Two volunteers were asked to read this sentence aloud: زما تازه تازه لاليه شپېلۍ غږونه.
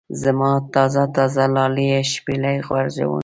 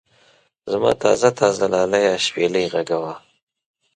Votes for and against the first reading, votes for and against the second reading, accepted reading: 0, 2, 2, 0, second